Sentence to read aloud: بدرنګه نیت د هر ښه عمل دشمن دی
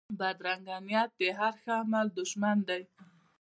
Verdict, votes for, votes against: accepted, 2, 0